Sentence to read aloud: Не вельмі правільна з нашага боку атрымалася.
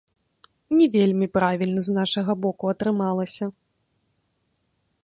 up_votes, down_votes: 1, 2